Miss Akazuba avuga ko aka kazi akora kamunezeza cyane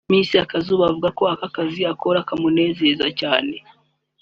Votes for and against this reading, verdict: 3, 0, accepted